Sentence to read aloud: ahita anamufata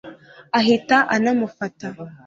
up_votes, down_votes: 2, 0